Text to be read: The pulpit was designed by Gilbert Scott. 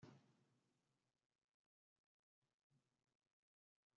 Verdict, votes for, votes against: rejected, 0, 2